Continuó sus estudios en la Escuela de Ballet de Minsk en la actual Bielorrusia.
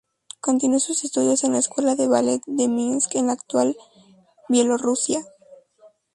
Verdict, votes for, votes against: rejected, 0, 2